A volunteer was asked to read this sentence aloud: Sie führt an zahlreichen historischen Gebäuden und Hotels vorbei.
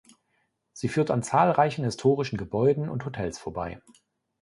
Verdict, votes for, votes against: accepted, 2, 0